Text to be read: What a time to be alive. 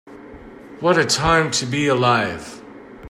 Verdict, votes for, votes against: accepted, 2, 0